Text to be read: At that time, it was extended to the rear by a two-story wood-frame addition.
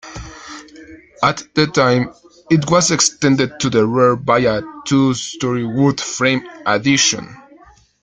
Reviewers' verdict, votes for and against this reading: accepted, 2, 0